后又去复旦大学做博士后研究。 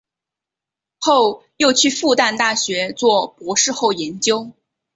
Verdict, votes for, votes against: accepted, 2, 0